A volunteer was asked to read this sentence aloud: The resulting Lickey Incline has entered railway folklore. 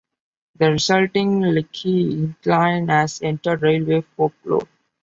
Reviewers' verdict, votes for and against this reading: accepted, 2, 1